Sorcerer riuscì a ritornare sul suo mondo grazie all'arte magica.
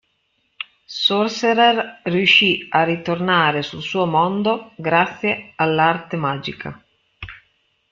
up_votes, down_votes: 2, 1